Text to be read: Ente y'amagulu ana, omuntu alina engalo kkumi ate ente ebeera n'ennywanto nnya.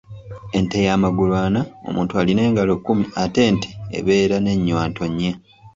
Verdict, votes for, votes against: accepted, 2, 0